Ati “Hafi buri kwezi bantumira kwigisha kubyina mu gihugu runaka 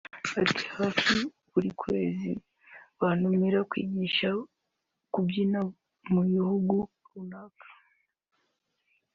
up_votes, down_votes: 0, 3